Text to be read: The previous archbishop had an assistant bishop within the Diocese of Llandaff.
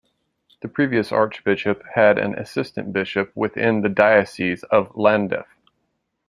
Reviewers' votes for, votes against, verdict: 2, 0, accepted